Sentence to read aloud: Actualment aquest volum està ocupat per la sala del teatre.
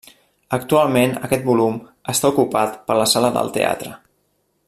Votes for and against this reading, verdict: 3, 0, accepted